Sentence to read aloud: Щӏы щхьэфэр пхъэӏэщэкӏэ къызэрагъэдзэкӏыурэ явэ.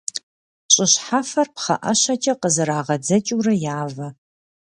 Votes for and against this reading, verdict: 2, 0, accepted